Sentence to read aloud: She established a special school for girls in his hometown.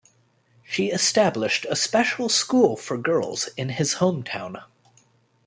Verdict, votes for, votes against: accepted, 2, 0